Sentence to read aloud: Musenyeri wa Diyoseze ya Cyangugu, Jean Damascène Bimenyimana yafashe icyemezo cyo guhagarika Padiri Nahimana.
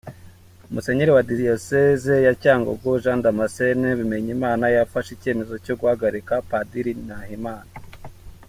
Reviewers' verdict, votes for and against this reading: accepted, 2, 0